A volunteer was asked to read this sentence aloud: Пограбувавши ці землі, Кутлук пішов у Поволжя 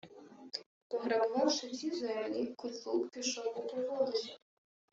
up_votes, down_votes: 0, 2